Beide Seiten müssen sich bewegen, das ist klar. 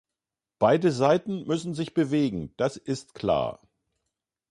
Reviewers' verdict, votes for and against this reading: accepted, 2, 0